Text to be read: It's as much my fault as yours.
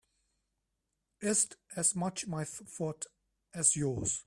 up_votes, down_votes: 3, 4